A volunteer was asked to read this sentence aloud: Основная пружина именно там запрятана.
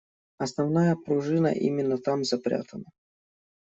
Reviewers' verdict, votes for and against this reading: accepted, 2, 0